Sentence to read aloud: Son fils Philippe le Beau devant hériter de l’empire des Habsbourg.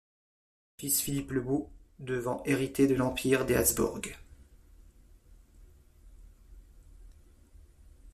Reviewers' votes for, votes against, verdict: 0, 2, rejected